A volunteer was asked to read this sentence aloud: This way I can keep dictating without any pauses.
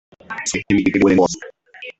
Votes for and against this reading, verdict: 0, 2, rejected